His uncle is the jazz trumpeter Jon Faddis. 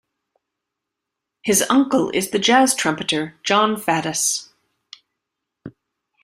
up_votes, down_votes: 2, 0